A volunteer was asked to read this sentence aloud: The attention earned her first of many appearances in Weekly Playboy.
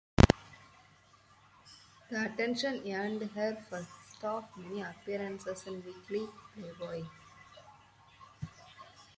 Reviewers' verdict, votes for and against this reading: rejected, 2, 4